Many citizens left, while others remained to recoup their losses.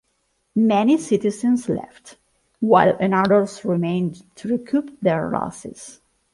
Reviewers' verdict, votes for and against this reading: rejected, 0, 2